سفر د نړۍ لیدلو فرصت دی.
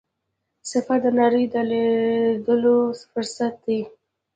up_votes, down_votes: 2, 0